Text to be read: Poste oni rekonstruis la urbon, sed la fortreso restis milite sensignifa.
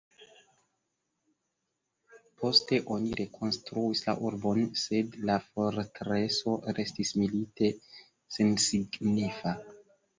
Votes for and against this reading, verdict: 2, 0, accepted